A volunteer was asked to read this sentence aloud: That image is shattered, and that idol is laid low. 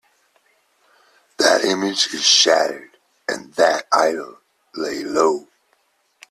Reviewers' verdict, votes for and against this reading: rejected, 0, 2